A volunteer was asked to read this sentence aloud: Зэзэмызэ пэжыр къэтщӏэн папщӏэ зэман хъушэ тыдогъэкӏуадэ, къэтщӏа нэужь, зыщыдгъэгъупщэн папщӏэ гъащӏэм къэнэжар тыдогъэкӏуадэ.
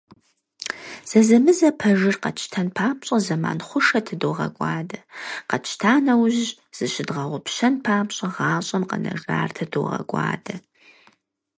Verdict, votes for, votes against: rejected, 0, 4